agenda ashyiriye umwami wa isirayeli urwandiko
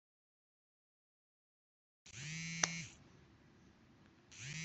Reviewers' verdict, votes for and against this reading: rejected, 0, 2